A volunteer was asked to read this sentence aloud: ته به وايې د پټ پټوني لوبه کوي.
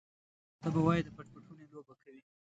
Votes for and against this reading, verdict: 1, 2, rejected